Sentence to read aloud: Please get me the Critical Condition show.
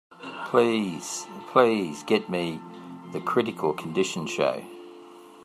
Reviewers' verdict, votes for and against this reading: rejected, 0, 2